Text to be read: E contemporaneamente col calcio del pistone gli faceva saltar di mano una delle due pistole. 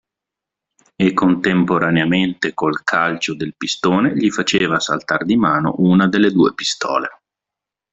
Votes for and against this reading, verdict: 2, 0, accepted